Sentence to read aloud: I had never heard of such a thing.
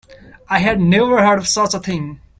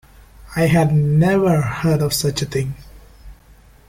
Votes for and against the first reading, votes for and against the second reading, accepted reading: 0, 2, 2, 0, second